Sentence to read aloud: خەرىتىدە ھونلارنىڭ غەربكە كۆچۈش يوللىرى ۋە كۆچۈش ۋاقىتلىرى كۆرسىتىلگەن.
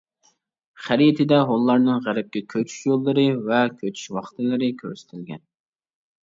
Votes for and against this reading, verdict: 2, 0, accepted